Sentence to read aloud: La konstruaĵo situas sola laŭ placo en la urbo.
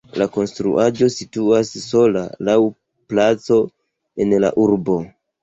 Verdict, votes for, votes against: accepted, 2, 0